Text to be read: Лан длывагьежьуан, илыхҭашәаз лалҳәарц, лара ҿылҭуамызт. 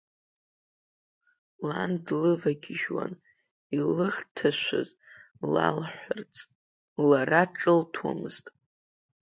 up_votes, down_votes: 2, 0